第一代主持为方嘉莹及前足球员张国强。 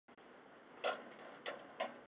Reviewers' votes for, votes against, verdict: 4, 2, accepted